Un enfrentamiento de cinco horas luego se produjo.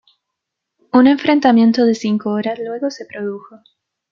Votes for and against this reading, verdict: 2, 1, accepted